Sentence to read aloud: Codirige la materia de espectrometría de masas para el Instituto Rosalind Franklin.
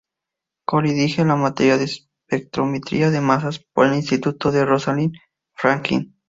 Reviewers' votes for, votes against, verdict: 0, 2, rejected